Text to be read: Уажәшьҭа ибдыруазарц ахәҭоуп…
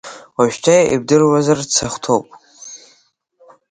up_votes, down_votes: 2, 0